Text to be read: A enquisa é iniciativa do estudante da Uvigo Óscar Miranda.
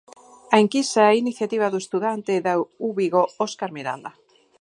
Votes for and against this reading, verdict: 4, 0, accepted